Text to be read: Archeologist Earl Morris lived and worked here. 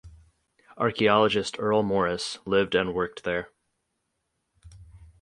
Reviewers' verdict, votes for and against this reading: rejected, 0, 2